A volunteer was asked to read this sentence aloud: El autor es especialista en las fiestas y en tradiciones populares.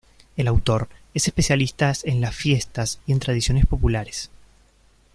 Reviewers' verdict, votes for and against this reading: rejected, 0, 2